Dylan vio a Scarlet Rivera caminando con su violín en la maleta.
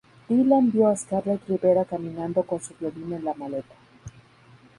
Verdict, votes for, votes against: accepted, 2, 0